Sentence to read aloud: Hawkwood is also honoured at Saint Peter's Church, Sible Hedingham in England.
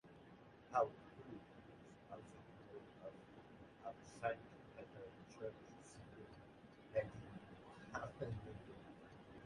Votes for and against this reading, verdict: 0, 2, rejected